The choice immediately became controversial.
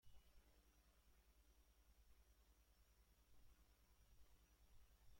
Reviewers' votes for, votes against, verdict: 0, 2, rejected